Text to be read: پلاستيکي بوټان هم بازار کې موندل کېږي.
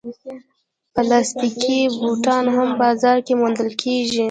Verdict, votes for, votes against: accepted, 2, 0